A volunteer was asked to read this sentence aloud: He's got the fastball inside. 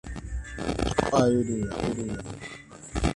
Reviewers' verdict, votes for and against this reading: rejected, 0, 2